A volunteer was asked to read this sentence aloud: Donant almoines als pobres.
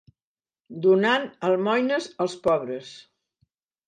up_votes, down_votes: 2, 0